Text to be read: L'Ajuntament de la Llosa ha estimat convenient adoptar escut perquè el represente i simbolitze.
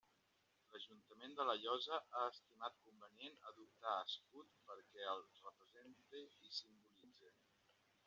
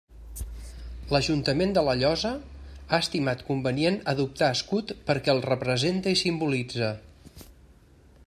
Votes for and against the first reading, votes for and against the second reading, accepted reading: 1, 2, 3, 0, second